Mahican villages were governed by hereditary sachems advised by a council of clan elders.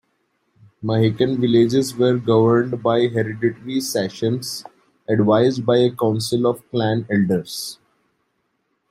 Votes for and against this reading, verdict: 2, 1, accepted